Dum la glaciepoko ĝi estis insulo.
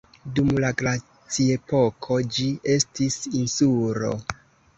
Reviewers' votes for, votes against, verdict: 1, 2, rejected